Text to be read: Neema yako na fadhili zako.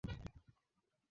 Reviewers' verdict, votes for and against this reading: rejected, 0, 15